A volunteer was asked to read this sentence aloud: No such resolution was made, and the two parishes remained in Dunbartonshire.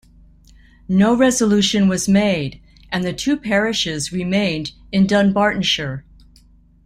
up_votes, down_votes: 0, 2